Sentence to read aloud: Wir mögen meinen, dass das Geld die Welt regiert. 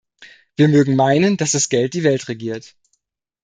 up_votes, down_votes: 2, 0